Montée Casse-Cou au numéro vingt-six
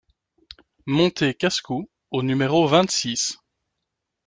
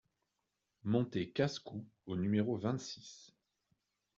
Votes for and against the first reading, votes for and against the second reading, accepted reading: 2, 0, 1, 2, first